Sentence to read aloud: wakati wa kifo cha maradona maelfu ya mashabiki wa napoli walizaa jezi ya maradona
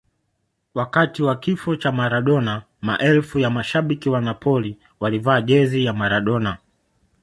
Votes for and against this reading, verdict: 1, 2, rejected